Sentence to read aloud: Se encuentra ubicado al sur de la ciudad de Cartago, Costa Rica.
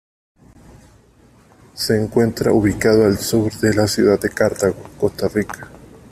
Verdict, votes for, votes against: accepted, 2, 0